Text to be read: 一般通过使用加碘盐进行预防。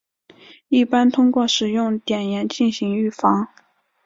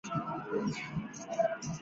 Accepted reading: first